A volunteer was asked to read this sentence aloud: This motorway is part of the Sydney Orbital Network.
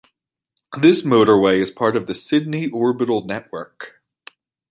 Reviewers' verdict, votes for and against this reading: accepted, 2, 0